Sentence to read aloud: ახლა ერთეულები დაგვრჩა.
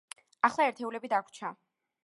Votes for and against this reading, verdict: 2, 1, accepted